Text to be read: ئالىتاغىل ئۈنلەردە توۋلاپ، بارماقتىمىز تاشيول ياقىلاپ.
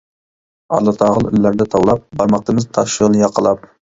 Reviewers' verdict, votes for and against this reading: rejected, 0, 2